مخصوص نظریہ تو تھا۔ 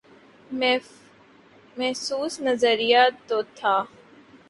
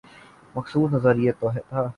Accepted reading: second